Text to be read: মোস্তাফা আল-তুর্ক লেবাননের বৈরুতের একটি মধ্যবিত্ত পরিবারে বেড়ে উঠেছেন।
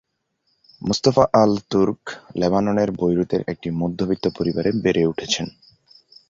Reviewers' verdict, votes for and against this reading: accepted, 4, 0